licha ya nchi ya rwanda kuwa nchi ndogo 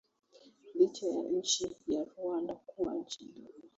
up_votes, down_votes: 1, 2